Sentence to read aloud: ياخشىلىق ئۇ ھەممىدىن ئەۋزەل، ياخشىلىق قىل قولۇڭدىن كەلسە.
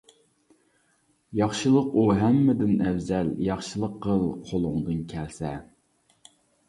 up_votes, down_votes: 2, 0